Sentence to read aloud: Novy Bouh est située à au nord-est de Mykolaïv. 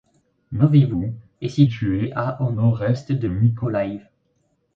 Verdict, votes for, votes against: rejected, 1, 2